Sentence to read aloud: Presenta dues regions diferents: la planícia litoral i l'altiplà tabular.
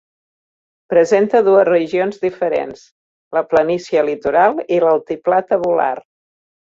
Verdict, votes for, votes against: accepted, 4, 0